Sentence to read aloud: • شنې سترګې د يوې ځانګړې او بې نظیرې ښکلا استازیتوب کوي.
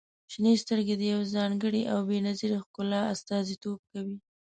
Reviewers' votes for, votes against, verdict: 2, 0, accepted